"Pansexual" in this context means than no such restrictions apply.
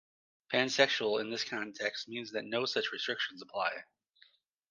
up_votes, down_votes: 0, 2